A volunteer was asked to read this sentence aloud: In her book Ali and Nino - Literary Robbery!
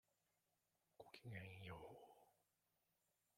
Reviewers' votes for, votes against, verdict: 0, 2, rejected